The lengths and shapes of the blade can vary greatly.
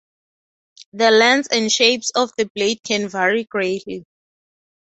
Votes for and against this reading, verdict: 6, 0, accepted